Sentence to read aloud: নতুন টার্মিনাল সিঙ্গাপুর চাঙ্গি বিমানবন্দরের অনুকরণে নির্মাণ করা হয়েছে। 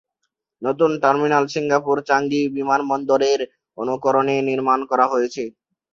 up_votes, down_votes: 0, 2